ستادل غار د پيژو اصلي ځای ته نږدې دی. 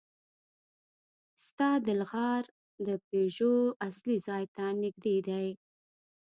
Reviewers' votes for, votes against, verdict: 0, 2, rejected